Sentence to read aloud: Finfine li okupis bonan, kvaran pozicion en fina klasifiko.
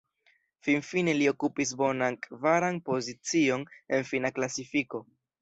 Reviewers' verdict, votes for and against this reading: accepted, 3, 0